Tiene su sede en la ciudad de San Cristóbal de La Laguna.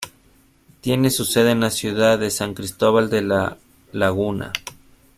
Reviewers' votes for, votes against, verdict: 1, 2, rejected